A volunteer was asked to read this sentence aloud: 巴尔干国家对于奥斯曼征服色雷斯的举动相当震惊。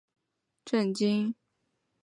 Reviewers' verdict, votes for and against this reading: rejected, 0, 2